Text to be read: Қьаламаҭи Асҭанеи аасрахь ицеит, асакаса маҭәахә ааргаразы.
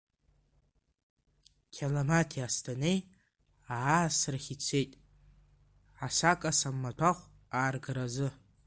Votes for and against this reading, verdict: 2, 1, accepted